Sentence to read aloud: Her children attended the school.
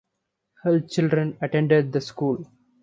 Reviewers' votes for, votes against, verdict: 2, 0, accepted